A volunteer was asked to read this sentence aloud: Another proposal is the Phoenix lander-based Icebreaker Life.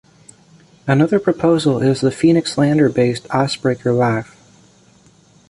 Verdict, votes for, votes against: accepted, 2, 0